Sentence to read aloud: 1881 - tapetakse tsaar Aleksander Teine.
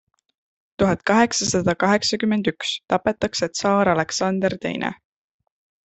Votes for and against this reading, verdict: 0, 2, rejected